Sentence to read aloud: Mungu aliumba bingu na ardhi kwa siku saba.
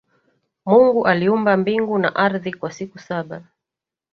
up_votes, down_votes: 1, 2